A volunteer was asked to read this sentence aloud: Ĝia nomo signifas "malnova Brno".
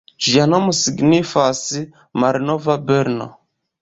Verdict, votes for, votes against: rejected, 1, 2